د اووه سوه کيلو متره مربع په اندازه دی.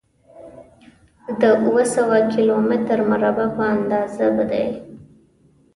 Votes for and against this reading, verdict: 2, 0, accepted